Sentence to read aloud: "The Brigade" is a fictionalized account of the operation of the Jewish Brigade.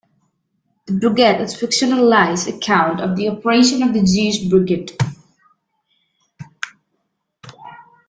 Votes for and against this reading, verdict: 0, 2, rejected